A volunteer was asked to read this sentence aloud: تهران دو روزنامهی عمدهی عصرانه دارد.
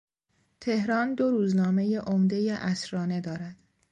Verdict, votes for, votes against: accepted, 2, 0